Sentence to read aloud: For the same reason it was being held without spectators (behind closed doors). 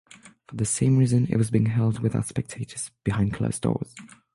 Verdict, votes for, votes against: accepted, 6, 0